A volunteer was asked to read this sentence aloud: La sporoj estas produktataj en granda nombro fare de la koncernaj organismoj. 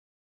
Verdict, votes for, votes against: rejected, 1, 3